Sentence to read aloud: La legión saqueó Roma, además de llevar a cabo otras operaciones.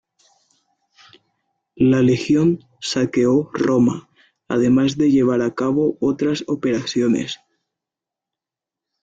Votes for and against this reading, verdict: 1, 2, rejected